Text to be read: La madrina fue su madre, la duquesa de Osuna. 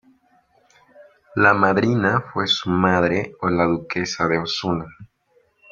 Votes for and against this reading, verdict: 2, 0, accepted